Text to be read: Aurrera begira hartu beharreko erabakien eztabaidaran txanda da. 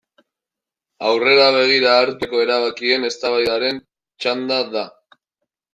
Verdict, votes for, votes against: rejected, 1, 2